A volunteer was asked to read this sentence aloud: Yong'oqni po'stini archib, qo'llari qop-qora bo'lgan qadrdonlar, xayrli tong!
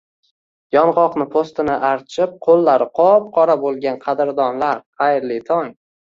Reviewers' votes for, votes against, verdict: 2, 0, accepted